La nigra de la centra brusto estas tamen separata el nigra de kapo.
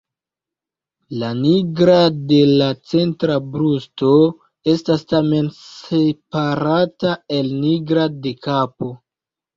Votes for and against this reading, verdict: 2, 1, accepted